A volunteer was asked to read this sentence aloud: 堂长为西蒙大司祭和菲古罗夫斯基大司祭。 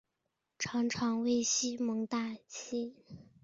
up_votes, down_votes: 0, 3